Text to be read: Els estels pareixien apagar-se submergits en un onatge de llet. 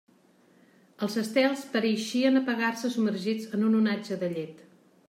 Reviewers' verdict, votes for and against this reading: accepted, 2, 0